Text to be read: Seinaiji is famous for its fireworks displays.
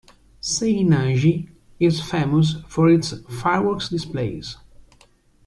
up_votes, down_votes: 2, 0